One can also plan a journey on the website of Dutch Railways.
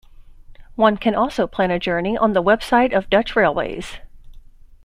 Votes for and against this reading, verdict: 2, 0, accepted